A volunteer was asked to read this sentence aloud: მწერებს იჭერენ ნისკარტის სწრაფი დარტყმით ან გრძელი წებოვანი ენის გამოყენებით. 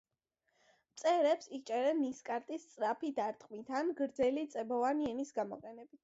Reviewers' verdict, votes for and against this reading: accepted, 2, 0